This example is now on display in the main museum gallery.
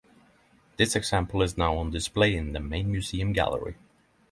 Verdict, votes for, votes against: accepted, 3, 0